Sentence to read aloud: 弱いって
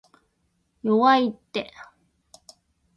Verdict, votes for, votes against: accepted, 2, 0